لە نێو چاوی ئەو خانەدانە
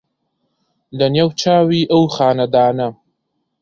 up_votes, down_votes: 2, 0